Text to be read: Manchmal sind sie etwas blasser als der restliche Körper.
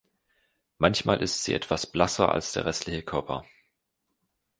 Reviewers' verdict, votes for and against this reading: rejected, 0, 2